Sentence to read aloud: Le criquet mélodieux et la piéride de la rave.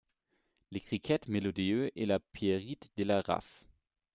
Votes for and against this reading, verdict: 1, 2, rejected